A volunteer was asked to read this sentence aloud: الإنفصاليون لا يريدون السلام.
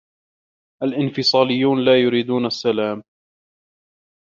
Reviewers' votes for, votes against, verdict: 1, 2, rejected